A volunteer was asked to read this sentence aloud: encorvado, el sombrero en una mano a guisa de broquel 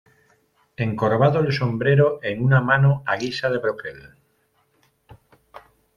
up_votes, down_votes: 0, 2